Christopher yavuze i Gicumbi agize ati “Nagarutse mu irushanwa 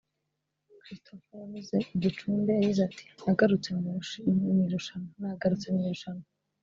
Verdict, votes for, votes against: rejected, 1, 2